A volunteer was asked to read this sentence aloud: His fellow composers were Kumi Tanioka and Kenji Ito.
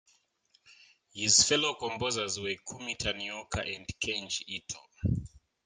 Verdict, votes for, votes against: rejected, 1, 2